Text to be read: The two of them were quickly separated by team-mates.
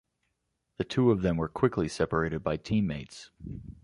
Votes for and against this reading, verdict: 2, 0, accepted